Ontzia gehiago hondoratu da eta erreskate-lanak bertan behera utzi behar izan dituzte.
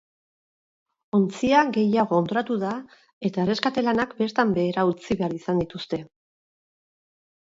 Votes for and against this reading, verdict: 2, 2, rejected